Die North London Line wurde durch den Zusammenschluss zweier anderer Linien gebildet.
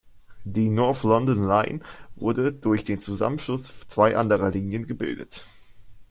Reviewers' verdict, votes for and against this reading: rejected, 0, 2